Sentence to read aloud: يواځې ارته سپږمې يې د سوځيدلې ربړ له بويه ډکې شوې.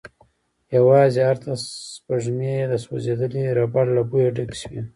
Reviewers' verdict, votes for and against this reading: accepted, 2, 0